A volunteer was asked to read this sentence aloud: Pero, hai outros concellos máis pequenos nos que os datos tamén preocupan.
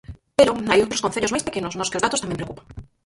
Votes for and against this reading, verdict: 0, 4, rejected